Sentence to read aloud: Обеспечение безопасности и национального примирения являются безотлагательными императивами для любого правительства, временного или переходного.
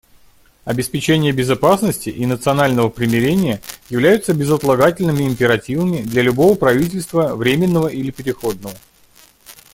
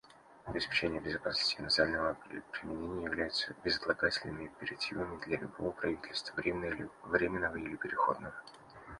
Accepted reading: first